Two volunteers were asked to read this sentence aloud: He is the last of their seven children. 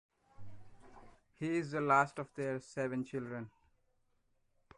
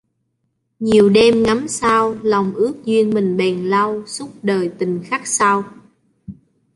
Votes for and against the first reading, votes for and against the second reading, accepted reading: 3, 0, 0, 2, first